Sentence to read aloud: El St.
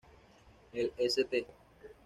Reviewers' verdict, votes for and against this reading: accepted, 2, 0